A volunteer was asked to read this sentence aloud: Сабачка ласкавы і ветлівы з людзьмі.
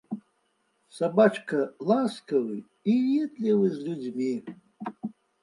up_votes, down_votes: 2, 0